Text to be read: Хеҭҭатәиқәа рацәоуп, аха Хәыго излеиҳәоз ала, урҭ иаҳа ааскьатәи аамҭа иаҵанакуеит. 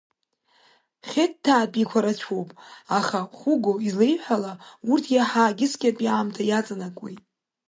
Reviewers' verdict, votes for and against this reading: rejected, 0, 2